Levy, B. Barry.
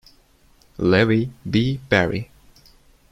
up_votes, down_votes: 2, 0